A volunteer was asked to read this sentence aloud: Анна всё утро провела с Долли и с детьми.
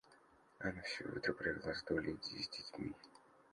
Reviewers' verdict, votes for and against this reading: rejected, 0, 2